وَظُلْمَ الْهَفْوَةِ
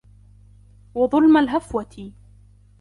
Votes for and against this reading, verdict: 2, 1, accepted